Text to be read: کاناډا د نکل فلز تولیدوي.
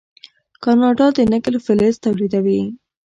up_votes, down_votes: 0, 2